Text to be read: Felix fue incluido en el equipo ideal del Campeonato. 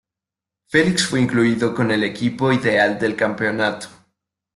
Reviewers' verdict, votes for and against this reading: rejected, 0, 2